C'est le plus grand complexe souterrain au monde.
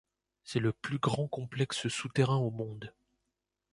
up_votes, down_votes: 2, 0